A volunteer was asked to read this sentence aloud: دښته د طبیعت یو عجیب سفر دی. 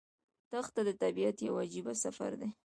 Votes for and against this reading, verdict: 2, 0, accepted